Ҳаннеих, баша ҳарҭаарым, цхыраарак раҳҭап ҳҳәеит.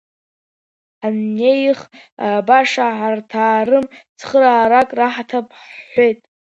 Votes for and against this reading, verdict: 1, 2, rejected